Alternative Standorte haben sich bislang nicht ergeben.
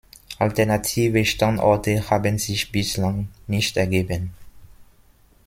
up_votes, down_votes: 2, 0